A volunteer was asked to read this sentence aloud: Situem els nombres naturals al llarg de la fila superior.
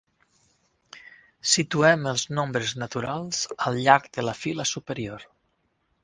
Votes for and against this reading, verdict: 6, 0, accepted